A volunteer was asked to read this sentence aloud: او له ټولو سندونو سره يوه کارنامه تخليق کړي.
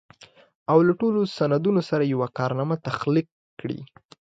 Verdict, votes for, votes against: accepted, 2, 0